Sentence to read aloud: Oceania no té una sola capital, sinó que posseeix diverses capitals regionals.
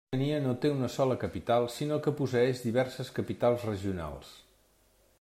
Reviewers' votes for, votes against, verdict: 0, 2, rejected